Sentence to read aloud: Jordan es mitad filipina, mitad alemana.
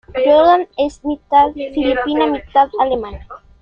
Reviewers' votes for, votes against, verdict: 2, 1, accepted